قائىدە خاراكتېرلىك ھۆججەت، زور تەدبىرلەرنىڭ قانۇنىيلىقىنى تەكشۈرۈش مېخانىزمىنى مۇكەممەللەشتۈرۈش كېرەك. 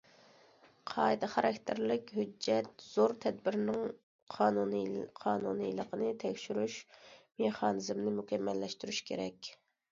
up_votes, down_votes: 0, 2